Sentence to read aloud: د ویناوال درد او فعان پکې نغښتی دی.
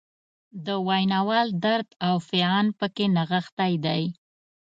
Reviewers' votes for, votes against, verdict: 2, 0, accepted